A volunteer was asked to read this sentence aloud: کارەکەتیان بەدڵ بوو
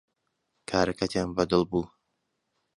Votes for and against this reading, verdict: 2, 0, accepted